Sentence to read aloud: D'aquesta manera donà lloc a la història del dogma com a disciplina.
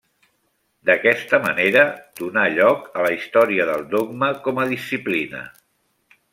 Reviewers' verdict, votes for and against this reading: accepted, 2, 0